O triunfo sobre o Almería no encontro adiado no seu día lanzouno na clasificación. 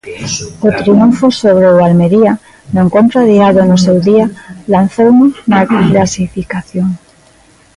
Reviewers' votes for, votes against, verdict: 1, 2, rejected